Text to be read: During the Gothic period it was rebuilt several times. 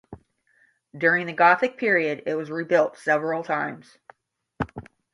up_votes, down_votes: 5, 0